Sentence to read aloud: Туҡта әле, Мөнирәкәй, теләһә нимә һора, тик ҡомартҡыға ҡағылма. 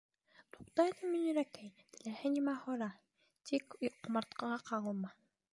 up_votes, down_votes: 1, 2